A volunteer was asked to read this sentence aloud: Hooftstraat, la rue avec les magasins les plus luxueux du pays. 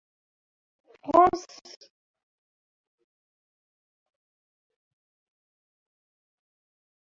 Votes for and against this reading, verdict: 0, 2, rejected